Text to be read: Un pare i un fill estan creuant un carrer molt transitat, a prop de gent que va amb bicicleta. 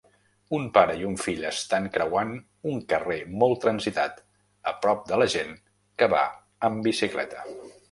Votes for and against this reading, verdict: 0, 2, rejected